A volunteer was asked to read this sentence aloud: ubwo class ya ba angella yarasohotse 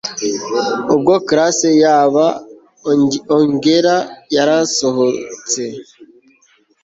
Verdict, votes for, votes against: rejected, 1, 2